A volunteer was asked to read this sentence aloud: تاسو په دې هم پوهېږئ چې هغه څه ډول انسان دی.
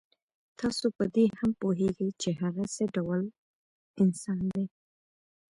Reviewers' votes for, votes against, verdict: 1, 2, rejected